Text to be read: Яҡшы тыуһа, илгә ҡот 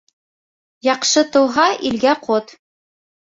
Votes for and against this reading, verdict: 3, 1, accepted